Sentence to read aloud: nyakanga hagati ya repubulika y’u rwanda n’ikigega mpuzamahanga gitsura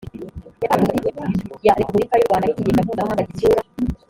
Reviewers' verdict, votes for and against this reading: rejected, 0, 2